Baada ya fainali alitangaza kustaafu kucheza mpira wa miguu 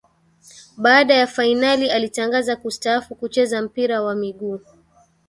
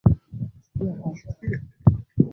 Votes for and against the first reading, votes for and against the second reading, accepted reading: 2, 0, 0, 2, first